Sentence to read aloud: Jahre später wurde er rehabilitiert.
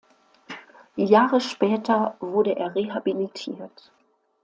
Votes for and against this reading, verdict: 2, 0, accepted